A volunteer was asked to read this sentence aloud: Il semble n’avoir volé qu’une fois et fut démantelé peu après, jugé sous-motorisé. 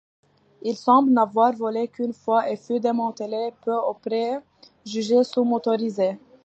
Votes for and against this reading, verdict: 2, 1, accepted